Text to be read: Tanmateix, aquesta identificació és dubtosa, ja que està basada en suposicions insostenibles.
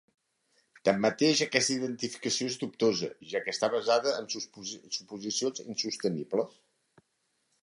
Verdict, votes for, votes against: rejected, 0, 2